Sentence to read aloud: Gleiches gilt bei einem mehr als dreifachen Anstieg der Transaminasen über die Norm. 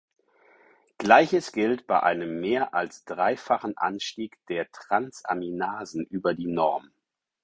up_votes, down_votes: 4, 0